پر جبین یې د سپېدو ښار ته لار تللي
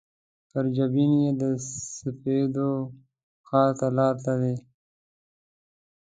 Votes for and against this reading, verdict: 0, 2, rejected